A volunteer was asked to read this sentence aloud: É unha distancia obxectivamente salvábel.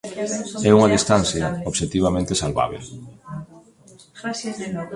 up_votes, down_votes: 1, 2